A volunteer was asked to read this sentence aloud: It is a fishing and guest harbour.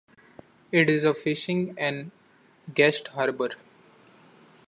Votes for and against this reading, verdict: 2, 1, accepted